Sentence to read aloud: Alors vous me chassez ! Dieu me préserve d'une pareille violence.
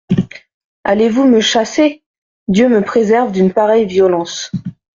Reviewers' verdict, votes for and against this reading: rejected, 0, 2